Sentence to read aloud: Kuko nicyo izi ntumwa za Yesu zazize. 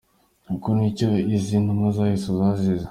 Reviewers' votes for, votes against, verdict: 2, 0, accepted